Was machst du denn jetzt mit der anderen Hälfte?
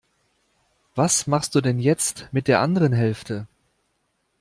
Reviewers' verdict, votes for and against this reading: accepted, 2, 0